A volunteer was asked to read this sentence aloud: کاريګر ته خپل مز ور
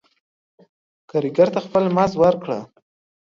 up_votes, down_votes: 2, 1